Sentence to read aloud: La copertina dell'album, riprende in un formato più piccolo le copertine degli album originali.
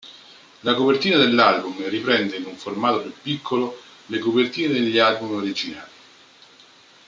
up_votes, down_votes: 1, 2